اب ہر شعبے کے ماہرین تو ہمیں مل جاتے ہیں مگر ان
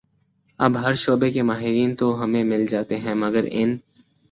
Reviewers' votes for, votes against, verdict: 9, 0, accepted